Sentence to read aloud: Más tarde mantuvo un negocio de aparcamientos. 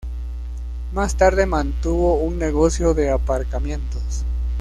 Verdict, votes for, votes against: accepted, 2, 0